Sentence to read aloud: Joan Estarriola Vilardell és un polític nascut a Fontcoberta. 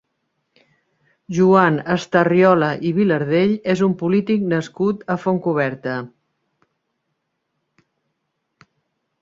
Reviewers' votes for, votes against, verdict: 1, 6, rejected